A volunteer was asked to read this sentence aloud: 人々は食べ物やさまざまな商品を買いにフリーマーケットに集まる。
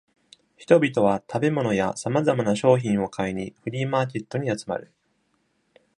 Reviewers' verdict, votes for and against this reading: accepted, 2, 0